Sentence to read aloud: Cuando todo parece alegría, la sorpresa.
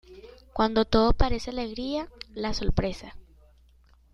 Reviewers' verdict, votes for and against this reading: accepted, 2, 1